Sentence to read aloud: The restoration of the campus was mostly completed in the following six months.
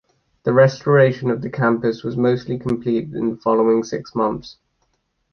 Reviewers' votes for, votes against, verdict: 2, 0, accepted